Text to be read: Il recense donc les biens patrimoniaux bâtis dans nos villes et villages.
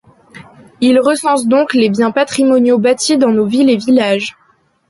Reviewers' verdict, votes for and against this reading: accepted, 2, 0